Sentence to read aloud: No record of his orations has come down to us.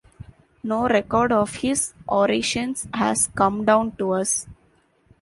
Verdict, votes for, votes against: accepted, 2, 0